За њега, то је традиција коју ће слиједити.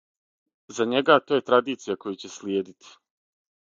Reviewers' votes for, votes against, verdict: 6, 0, accepted